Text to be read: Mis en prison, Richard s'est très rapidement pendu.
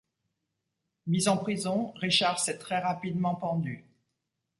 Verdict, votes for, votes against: accepted, 2, 0